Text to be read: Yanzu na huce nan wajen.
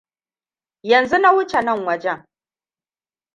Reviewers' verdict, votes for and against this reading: accepted, 2, 0